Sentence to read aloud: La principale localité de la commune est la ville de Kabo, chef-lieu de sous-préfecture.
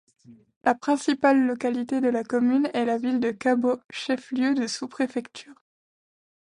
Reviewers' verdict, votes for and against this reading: accepted, 2, 0